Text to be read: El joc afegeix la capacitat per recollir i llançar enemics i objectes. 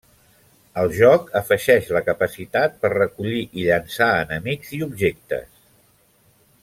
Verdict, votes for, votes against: accepted, 3, 0